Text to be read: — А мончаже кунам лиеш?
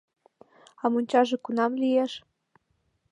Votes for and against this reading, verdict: 2, 0, accepted